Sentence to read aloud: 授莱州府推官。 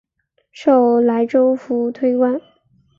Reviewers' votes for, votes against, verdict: 6, 0, accepted